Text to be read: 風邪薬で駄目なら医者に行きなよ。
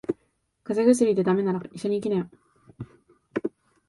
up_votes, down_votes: 2, 0